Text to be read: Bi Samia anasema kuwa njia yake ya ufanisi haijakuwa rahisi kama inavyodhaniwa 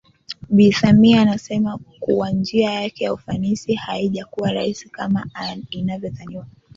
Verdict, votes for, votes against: accepted, 2, 1